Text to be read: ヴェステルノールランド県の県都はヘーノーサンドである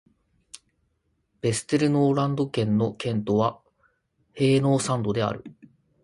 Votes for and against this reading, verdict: 1, 2, rejected